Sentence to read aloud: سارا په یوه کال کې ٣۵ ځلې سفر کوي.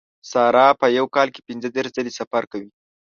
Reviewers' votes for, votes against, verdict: 0, 2, rejected